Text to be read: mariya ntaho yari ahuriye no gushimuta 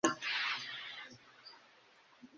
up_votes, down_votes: 0, 2